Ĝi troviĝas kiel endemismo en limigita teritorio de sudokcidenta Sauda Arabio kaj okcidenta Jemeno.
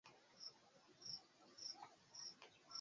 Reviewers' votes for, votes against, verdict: 1, 2, rejected